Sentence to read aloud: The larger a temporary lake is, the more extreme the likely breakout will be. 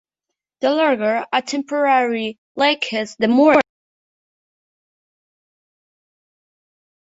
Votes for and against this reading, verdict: 0, 2, rejected